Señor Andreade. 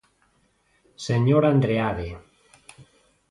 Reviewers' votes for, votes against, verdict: 2, 0, accepted